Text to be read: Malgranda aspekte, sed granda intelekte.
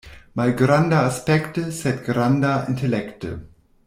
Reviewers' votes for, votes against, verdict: 2, 0, accepted